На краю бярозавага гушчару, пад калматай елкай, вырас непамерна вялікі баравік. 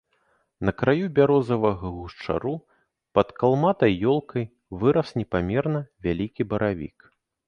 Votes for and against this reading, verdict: 1, 2, rejected